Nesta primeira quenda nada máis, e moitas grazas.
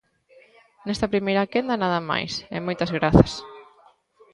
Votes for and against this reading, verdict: 2, 1, accepted